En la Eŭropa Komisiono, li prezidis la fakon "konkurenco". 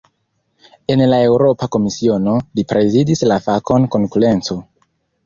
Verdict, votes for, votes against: accepted, 3, 1